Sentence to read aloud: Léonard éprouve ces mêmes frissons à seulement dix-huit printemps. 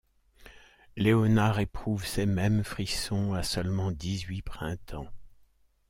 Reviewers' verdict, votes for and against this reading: accepted, 2, 0